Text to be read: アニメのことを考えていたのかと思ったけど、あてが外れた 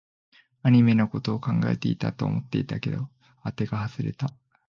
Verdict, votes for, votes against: rejected, 0, 3